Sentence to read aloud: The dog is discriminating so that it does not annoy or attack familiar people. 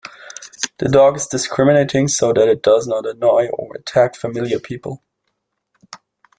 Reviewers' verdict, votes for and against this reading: rejected, 1, 2